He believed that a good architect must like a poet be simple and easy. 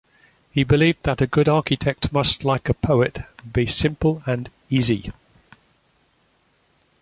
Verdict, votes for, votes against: accepted, 2, 1